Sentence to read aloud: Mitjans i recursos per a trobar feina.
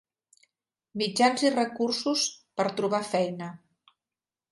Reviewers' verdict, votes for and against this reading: rejected, 1, 2